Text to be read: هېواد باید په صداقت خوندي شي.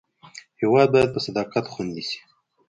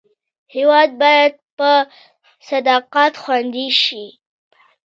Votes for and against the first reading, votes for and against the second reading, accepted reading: 2, 1, 0, 2, first